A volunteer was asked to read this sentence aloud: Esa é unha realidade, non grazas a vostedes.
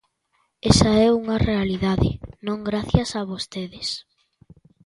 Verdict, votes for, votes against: rejected, 0, 2